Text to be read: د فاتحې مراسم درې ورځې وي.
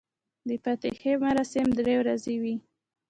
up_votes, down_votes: 1, 2